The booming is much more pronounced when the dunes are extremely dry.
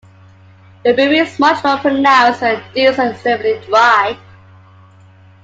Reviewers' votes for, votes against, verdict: 0, 2, rejected